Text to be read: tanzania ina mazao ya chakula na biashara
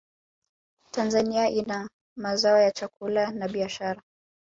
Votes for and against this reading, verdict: 2, 0, accepted